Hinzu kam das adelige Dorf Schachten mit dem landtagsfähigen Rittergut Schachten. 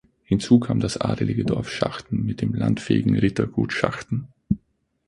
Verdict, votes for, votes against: rejected, 0, 6